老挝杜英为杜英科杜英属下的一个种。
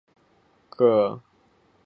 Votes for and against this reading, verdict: 2, 1, accepted